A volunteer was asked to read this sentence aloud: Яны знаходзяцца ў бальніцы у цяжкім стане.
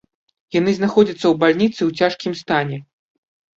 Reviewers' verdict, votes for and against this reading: accepted, 2, 0